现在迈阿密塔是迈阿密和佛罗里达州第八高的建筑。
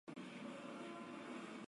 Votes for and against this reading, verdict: 0, 2, rejected